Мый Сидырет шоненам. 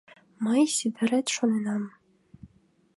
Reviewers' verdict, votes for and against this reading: accepted, 2, 0